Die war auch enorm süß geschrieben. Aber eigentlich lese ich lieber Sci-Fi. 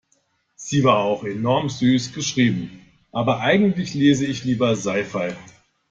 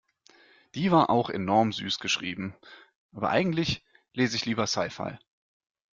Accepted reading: second